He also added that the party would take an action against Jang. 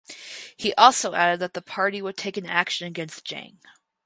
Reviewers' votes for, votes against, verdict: 4, 0, accepted